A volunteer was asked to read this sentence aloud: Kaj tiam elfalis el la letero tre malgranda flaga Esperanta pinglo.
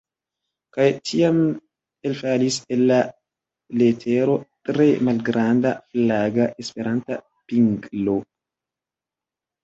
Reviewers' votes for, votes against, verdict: 2, 0, accepted